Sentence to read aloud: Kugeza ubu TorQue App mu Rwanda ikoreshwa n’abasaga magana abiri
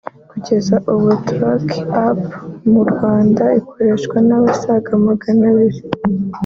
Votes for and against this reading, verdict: 0, 2, rejected